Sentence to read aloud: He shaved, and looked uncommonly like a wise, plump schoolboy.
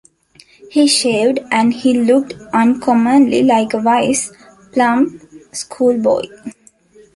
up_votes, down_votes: 1, 2